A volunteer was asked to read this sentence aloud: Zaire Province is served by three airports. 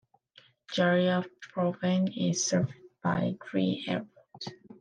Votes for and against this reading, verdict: 1, 2, rejected